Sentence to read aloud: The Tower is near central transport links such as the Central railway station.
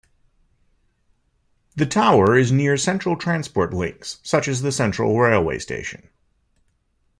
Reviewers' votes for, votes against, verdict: 2, 0, accepted